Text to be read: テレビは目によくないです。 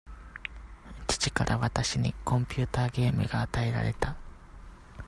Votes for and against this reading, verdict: 0, 2, rejected